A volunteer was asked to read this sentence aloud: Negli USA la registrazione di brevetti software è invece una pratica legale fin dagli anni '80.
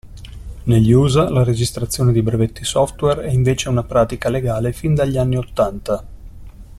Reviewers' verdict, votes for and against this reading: rejected, 0, 2